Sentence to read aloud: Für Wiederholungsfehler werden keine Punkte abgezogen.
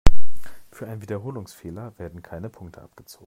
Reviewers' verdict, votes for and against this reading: rejected, 0, 2